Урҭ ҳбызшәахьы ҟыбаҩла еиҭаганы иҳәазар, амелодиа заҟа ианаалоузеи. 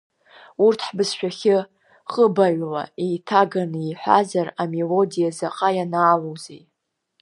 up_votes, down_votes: 2, 0